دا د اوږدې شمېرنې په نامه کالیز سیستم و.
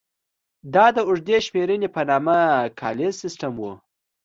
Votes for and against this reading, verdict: 2, 0, accepted